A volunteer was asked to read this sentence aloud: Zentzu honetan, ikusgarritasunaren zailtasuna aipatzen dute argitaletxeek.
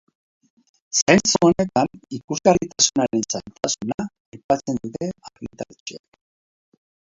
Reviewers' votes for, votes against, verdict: 0, 2, rejected